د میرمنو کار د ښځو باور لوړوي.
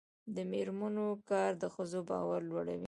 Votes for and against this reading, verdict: 0, 2, rejected